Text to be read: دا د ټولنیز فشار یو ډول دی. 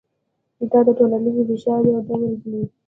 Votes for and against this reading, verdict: 1, 2, rejected